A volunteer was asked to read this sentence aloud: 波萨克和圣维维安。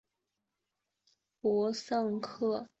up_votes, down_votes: 1, 2